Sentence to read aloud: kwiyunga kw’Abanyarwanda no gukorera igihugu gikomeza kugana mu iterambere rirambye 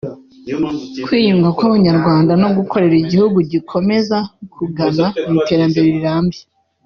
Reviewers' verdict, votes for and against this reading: accepted, 2, 0